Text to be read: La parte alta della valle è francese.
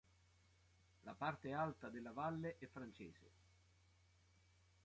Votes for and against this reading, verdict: 1, 2, rejected